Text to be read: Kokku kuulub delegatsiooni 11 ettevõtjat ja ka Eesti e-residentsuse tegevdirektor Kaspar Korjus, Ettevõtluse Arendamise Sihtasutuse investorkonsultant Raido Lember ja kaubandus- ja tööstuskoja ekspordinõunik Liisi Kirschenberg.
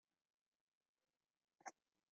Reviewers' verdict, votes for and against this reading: rejected, 0, 2